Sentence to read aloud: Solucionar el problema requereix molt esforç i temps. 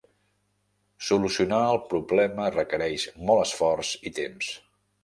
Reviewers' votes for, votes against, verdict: 3, 0, accepted